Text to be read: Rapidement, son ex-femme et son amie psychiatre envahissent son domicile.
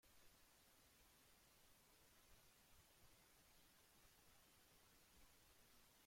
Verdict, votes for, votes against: rejected, 0, 2